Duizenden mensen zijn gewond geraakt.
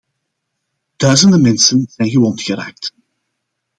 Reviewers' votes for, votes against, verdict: 2, 0, accepted